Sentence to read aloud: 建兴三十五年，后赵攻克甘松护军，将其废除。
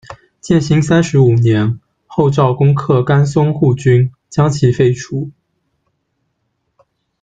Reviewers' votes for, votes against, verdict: 3, 0, accepted